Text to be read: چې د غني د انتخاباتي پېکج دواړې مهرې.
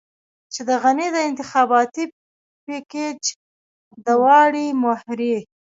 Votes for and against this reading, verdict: 2, 0, accepted